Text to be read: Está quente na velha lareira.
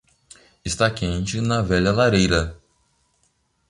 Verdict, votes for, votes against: accepted, 2, 0